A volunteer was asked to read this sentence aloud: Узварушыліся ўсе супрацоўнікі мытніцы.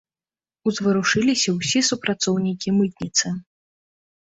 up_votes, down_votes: 2, 0